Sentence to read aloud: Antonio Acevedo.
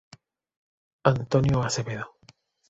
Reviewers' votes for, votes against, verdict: 2, 0, accepted